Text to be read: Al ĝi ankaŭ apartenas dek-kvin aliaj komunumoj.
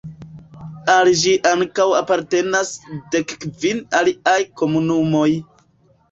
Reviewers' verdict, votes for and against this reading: rejected, 1, 2